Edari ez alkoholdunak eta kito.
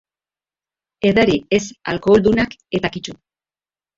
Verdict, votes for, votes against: accepted, 2, 0